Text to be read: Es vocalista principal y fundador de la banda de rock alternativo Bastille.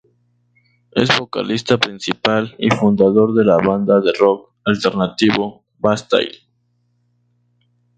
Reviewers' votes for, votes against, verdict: 0, 2, rejected